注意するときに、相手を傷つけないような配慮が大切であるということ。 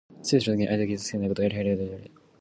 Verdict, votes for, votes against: rejected, 0, 2